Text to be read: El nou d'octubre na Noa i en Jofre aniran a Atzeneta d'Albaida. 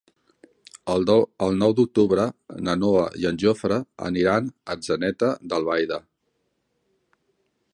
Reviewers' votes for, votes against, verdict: 0, 3, rejected